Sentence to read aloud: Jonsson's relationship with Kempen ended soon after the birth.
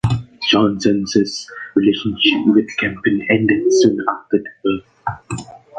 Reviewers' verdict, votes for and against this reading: rejected, 1, 2